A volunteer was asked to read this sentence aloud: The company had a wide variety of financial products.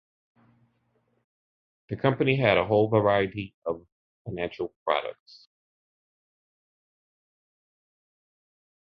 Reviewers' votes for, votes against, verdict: 1, 2, rejected